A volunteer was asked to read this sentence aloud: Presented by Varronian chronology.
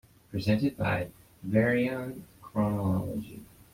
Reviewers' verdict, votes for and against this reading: rejected, 0, 2